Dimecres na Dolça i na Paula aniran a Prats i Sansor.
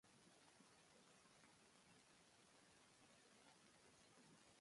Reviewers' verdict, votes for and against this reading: rejected, 0, 2